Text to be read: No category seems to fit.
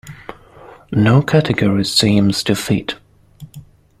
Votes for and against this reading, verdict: 2, 0, accepted